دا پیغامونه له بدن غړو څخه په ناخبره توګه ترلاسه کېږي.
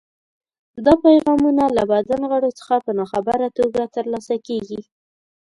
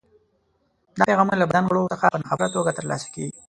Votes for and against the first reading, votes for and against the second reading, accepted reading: 2, 0, 0, 2, first